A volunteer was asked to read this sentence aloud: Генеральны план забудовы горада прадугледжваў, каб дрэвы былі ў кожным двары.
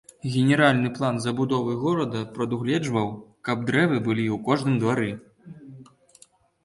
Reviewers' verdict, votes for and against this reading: accepted, 2, 0